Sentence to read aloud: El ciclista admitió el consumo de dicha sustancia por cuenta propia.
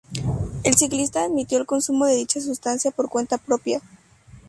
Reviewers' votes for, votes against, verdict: 2, 0, accepted